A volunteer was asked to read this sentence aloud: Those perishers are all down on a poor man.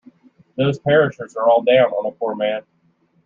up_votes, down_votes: 1, 2